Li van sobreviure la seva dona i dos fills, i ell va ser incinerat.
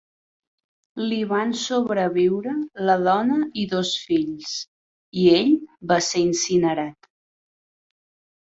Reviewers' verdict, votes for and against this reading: rejected, 0, 3